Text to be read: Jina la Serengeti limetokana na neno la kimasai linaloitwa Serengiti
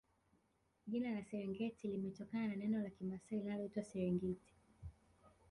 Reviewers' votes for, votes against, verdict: 0, 2, rejected